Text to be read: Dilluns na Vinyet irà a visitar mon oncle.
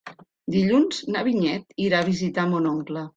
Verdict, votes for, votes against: accepted, 2, 0